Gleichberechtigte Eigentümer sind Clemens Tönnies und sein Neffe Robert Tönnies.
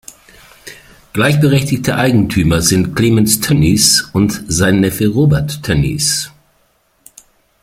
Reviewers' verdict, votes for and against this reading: accepted, 2, 0